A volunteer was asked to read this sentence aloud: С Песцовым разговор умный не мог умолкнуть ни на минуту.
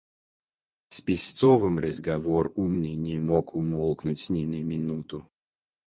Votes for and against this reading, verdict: 2, 4, rejected